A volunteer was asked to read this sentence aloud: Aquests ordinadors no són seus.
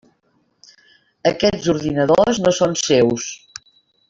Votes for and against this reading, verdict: 3, 0, accepted